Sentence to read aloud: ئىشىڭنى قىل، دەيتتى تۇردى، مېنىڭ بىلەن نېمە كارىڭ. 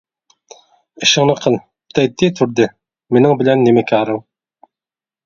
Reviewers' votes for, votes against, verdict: 2, 0, accepted